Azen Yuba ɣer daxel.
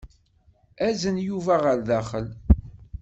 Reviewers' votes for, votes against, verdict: 4, 0, accepted